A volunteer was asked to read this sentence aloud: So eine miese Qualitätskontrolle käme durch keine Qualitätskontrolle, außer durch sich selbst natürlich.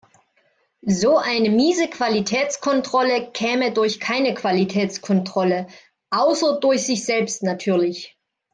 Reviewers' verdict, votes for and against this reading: accepted, 2, 0